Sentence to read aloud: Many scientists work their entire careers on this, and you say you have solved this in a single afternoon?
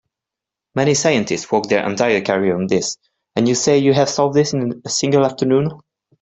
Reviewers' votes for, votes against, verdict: 2, 0, accepted